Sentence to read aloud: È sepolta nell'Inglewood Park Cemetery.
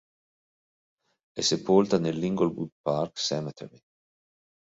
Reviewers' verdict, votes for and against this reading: rejected, 1, 2